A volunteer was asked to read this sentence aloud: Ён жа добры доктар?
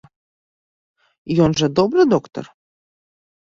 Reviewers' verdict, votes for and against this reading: accepted, 2, 0